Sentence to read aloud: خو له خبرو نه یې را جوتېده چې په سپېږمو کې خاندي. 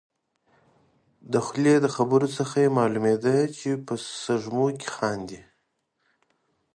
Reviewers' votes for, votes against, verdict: 1, 2, rejected